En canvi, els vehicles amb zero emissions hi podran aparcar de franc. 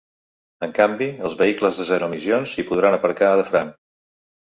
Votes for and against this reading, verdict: 1, 2, rejected